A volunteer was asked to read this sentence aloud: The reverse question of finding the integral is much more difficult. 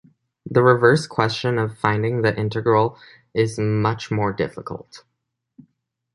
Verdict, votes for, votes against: accepted, 2, 0